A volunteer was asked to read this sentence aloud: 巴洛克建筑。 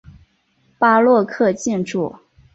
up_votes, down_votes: 1, 2